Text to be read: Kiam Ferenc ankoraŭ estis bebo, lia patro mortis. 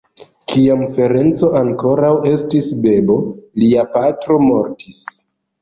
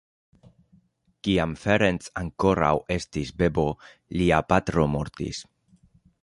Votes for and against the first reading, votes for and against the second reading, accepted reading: 1, 2, 2, 0, second